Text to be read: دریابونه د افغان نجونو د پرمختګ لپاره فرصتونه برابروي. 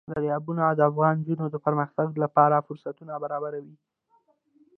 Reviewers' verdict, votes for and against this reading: accepted, 2, 1